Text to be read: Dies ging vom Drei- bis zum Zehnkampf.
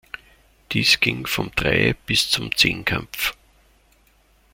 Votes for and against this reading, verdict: 0, 2, rejected